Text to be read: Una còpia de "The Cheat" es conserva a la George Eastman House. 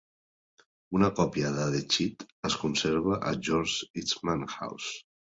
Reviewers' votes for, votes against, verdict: 2, 0, accepted